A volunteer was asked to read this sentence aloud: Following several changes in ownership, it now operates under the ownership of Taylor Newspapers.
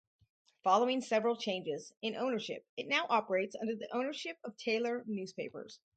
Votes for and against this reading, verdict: 4, 0, accepted